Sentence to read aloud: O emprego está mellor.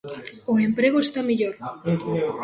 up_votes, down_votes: 0, 2